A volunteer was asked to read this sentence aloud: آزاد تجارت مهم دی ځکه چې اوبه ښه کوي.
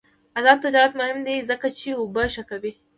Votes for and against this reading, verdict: 2, 0, accepted